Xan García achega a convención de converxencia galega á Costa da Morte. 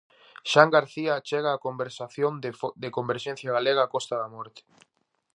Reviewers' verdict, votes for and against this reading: rejected, 0, 4